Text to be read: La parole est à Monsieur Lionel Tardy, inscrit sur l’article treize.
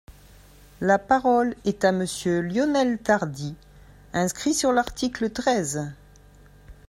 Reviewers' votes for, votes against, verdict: 3, 0, accepted